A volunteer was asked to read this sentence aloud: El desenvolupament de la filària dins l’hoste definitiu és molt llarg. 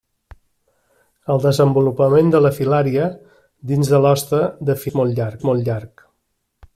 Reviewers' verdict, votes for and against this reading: rejected, 0, 2